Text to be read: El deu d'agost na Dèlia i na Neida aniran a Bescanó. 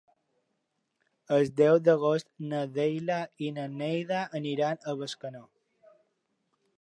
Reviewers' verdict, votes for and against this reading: rejected, 1, 2